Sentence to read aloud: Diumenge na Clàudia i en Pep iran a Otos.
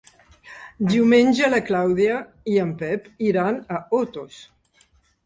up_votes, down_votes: 3, 1